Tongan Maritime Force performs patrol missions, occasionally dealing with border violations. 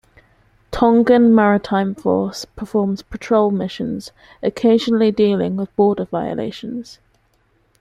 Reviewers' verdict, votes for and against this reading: rejected, 1, 2